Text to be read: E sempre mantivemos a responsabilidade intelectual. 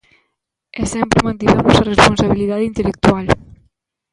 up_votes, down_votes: 0, 2